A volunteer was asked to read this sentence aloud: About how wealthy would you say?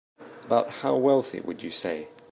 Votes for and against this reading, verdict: 1, 2, rejected